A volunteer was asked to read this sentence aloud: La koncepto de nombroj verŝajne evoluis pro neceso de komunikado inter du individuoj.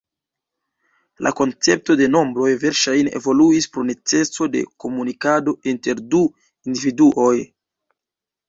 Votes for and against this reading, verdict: 2, 0, accepted